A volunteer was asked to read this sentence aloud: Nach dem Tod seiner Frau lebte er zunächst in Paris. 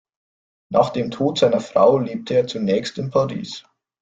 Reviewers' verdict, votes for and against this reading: accepted, 2, 0